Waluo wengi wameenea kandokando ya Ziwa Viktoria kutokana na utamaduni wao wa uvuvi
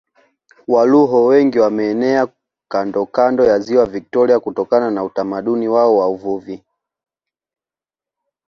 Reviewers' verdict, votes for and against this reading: accepted, 2, 0